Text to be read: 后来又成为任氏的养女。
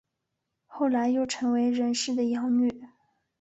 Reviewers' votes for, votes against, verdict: 6, 0, accepted